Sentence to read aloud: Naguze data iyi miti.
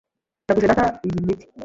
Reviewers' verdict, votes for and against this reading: rejected, 1, 2